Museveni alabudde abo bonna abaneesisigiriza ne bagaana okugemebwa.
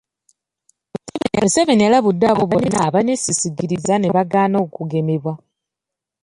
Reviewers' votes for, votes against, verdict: 0, 2, rejected